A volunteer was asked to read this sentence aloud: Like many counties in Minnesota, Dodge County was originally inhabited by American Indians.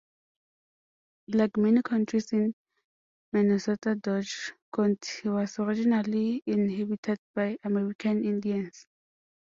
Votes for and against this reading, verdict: 0, 2, rejected